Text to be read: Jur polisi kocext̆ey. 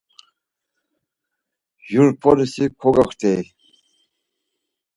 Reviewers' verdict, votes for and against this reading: rejected, 2, 4